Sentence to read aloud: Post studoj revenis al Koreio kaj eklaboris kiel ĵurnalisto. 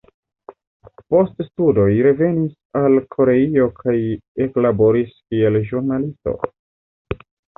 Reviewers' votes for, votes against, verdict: 1, 2, rejected